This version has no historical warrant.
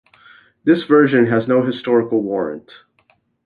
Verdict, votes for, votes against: accepted, 2, 0